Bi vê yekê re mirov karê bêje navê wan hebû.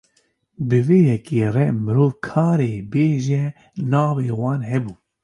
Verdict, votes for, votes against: accepted, 2, 0